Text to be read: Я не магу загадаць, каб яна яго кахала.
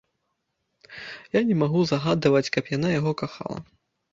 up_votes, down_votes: 0, 2